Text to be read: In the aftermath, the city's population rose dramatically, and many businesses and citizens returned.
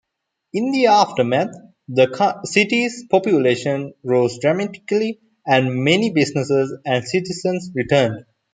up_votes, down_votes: 0, 2